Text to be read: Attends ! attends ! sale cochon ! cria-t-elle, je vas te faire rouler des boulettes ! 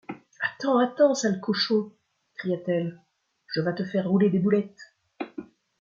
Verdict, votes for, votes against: accepted, 2, 0